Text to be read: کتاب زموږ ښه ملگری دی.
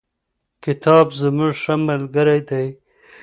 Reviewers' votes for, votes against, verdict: 2, 0, accepted